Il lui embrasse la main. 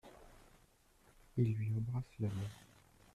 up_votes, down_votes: 1, 2